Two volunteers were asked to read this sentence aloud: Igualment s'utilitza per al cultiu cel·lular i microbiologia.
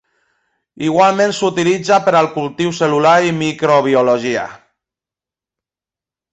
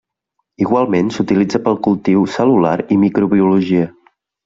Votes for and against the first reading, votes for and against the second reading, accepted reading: 6, 0, 1, 2, first